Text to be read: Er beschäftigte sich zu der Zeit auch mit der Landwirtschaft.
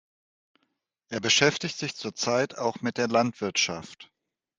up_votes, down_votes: 1, 2